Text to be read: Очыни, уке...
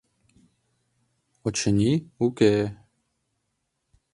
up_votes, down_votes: 2, 0